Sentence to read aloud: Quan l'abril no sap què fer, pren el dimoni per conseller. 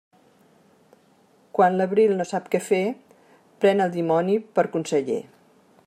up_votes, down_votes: 3, 0